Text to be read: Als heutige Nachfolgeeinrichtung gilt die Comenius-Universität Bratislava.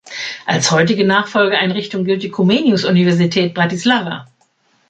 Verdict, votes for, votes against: accepted, 2, 0